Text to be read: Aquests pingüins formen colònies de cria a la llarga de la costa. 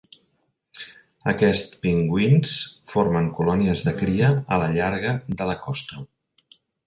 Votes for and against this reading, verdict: 2, 1, accepted